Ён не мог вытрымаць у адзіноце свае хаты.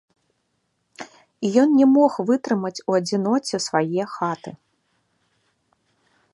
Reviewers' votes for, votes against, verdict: 2, 0, accepted